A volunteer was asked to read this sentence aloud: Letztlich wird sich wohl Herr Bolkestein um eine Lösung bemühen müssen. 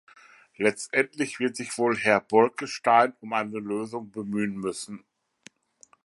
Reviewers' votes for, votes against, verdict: 0, 2, rejected